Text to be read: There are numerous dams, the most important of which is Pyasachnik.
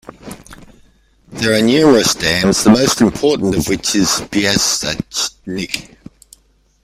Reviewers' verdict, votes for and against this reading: rejected, 1, 2